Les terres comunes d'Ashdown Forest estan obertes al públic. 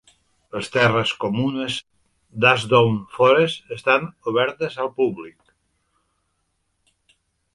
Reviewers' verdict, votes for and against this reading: accepted, 2, 0